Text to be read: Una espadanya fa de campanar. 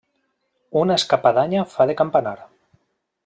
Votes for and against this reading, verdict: 0, 2, rejected